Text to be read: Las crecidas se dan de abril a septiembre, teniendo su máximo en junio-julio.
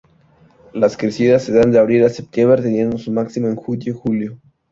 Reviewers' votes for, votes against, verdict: 0, 2, rejected